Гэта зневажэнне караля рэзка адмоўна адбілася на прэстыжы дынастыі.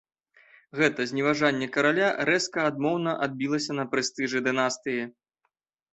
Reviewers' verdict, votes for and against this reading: accepted, 2, 0